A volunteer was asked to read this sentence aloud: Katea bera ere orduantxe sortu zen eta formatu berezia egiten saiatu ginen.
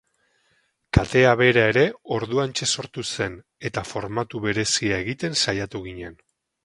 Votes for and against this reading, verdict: 0, 2, rejected